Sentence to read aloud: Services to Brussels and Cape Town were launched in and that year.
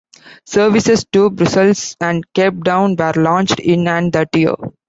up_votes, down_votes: 2, 1